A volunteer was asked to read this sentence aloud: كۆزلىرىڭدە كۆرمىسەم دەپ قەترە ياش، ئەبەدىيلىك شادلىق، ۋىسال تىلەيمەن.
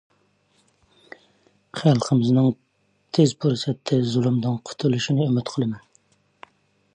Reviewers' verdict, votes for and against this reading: rejected, 0, 2